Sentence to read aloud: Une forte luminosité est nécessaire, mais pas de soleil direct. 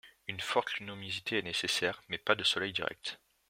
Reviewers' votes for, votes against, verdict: 1, 2, rejected